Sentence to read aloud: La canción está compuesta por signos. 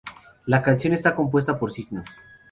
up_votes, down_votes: 2, 0